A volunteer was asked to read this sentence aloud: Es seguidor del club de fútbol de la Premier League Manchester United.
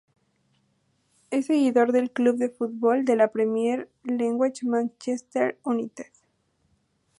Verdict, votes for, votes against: accepted, 2, 0